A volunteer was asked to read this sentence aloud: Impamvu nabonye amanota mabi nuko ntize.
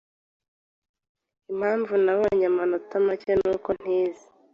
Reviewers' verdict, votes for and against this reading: accepted, 2, 1